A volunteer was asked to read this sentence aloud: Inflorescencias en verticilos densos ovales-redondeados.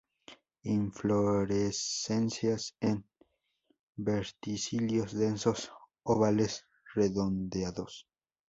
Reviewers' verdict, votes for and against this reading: rejected, 0, 2